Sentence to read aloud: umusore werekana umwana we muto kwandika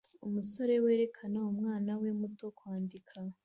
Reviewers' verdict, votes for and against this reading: accepted, 2, 0